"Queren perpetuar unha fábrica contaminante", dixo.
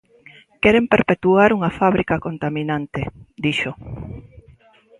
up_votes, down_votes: 2, 0